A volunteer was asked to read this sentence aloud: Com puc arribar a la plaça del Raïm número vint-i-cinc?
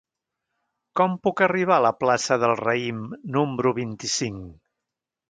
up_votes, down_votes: 1, 2